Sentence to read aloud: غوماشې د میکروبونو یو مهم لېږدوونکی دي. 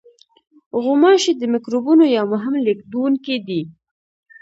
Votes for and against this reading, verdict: 2, 0, accepted